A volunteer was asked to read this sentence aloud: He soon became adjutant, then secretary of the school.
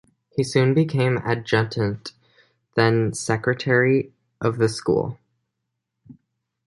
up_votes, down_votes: 2, 0